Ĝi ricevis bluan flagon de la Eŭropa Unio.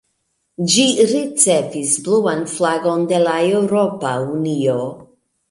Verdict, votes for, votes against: accepted, 2, 0